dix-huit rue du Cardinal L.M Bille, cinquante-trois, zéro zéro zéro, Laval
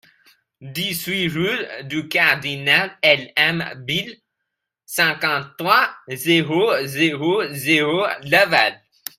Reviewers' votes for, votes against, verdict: 2, 0, accepted